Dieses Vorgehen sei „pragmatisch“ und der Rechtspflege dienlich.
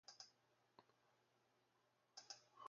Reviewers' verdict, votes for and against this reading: rejected, 1, 2